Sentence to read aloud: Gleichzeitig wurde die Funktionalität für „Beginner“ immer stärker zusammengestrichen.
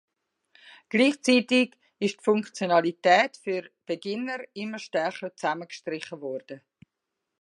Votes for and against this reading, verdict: 0, 2, rejected